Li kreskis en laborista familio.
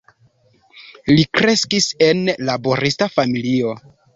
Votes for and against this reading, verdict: 2, 0, accepted